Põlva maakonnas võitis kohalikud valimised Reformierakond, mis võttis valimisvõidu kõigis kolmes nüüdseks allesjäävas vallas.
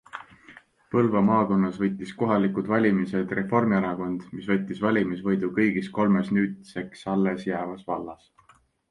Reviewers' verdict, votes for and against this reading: accepted, 2, 0